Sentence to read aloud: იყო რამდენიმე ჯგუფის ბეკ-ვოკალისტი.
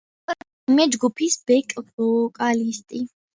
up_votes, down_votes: 0, 2